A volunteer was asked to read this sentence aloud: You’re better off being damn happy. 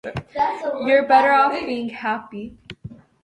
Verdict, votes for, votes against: rejected, 1, 2